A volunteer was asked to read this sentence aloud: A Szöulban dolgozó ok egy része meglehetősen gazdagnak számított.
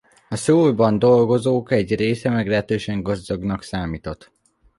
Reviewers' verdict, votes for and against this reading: accepted, 2, 0